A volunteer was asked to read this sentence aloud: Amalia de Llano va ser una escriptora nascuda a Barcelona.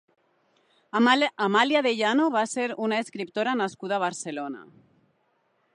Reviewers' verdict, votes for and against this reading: rejected, 1, 2